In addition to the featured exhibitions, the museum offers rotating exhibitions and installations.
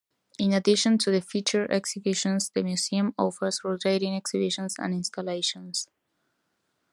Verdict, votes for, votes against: accepted, 2, 1